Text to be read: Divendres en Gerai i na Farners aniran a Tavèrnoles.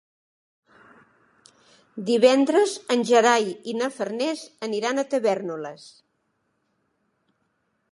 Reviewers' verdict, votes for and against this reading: accepted, 3, 0